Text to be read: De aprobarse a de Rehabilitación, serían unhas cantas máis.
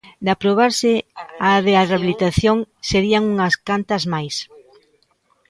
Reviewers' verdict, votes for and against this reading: rejected, 1, 2